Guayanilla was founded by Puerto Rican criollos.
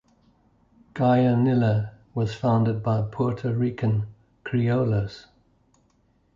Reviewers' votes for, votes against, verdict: 0, 2, rejected